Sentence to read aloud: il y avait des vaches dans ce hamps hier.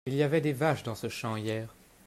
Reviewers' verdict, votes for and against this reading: rejected, 1, 2